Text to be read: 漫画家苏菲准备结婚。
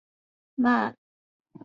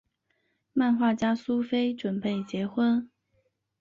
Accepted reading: second